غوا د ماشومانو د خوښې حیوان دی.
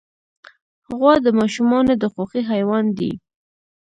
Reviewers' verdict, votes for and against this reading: rejected, 1, 2